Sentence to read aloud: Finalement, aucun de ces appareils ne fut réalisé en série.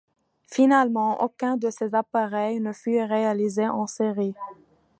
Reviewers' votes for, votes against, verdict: 2, 0, accepted